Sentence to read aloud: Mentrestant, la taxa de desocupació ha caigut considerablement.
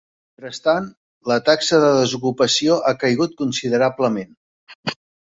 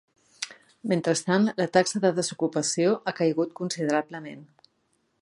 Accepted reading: second